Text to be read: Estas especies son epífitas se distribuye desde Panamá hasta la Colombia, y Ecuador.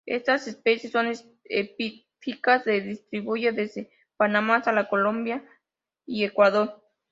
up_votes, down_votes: 0, 2